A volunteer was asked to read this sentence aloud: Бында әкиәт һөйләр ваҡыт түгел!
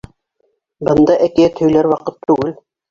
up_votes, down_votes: 2, 0